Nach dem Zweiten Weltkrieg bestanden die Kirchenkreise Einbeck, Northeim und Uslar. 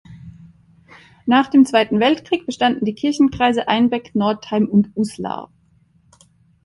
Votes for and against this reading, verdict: 2, 0, accepted